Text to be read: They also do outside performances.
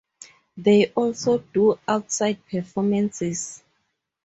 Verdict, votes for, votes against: accepted, 2, 0